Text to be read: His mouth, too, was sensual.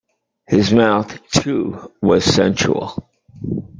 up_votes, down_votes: 2, 0